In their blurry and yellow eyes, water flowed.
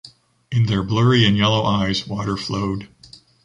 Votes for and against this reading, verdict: 2, 0, accepted